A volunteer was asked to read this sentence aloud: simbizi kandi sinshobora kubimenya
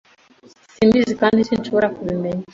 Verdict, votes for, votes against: accepted, 2, 0